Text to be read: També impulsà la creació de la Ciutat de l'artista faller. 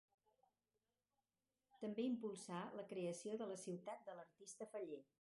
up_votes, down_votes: 2, 2